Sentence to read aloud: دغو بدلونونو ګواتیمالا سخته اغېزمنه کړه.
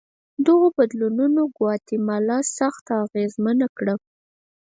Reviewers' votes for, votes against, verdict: 0, 4, rejected